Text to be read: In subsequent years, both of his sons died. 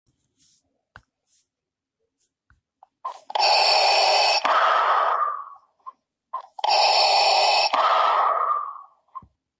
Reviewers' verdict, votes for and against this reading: rejected, 0, 4